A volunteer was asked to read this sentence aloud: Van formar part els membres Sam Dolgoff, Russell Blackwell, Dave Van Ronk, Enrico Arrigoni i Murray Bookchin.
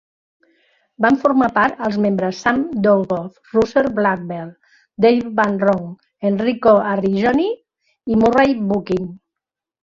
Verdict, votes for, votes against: accepted, 2, 1